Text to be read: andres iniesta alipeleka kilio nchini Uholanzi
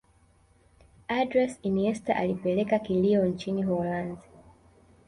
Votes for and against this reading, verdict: 1, 3, rejected